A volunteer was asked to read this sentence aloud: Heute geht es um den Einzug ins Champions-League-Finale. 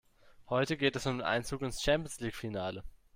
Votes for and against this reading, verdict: 2, 0, accepted